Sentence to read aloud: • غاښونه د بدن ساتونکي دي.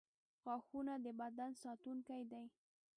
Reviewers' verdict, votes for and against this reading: rejected, 1, 2